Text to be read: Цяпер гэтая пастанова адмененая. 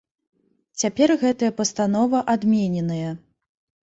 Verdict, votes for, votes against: accepted, 2, 0